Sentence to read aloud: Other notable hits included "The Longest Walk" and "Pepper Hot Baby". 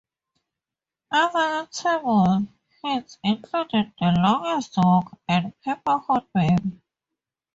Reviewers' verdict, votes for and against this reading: accepted, 2, 0